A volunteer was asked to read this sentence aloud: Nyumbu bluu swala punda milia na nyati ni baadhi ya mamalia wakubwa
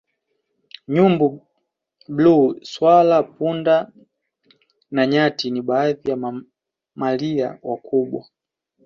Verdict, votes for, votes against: rejected, 0, 2